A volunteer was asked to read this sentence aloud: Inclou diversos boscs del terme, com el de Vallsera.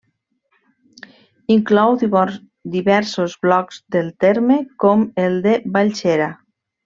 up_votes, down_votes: 0, 2